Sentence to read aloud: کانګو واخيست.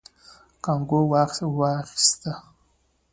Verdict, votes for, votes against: accepted, 2, 0